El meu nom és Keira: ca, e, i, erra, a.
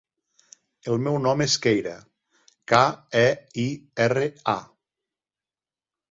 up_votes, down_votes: 2, 0